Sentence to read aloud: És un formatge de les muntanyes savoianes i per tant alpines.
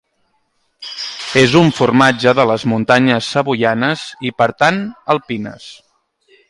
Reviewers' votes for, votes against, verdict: 2, 0, accepted